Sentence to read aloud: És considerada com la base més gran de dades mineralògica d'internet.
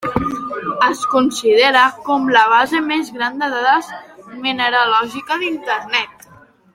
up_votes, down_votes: 1, 2